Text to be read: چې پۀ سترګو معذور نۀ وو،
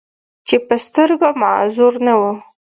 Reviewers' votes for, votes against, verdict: 2, 0, accepted